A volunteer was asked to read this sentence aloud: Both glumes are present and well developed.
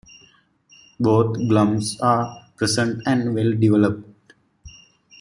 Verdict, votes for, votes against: rejected, 0, 2